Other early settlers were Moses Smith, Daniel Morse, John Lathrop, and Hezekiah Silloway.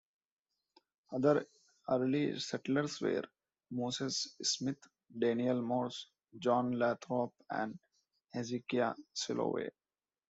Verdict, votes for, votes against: rejected, 1, 2